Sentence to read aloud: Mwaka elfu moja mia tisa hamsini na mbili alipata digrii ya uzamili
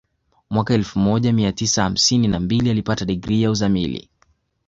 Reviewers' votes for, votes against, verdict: 2, 0, accepted